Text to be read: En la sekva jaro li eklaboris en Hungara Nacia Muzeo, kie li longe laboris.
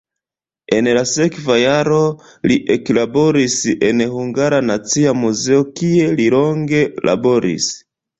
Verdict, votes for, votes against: rejected, 1, 2